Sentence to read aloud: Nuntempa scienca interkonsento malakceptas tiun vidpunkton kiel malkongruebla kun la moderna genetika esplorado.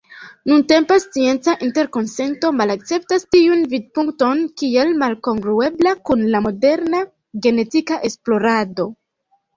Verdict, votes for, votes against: accepted, 2, 1